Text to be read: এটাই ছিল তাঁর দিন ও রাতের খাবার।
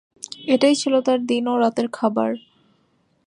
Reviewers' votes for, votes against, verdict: 2, 0, accepted